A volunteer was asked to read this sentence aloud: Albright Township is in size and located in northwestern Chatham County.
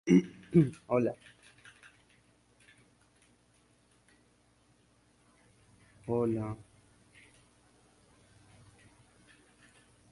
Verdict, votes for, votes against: rejected, 0, 2